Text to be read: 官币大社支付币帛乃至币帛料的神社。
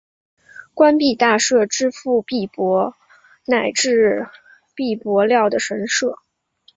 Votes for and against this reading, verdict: 2, 0, accepted